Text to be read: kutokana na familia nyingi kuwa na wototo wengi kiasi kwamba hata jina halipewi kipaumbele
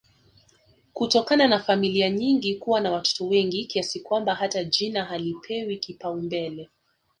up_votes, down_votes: 1, 2